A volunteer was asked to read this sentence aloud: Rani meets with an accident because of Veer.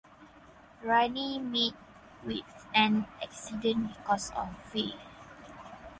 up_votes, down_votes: 2, 4